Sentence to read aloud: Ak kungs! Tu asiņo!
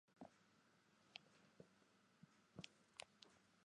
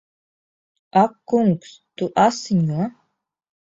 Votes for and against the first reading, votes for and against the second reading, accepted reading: 0, 2, 2, 0, second